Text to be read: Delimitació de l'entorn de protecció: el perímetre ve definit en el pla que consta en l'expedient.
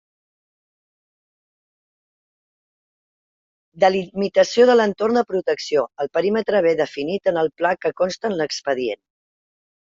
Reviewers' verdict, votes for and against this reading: rejected, 1, 2